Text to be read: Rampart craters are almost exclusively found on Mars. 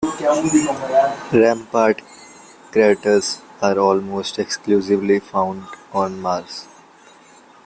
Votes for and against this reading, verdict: 2, 1, accepted